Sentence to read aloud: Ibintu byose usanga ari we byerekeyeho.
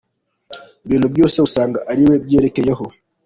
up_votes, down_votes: 2, 0